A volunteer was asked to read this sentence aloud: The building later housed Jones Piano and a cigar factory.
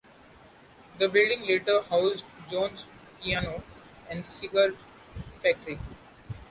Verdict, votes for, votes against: rejected, 0, 2